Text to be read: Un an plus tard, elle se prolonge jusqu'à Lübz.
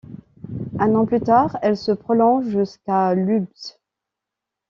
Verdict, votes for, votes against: accepted, 2, 0